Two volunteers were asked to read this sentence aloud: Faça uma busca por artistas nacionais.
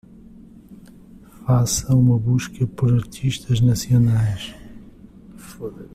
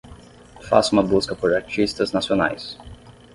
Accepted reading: second